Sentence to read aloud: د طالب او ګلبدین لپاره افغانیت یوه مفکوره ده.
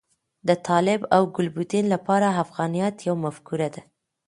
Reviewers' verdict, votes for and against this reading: rejected, 1, 2